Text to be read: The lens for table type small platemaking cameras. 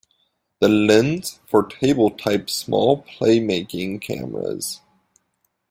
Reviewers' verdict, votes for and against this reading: rejected, 1, 2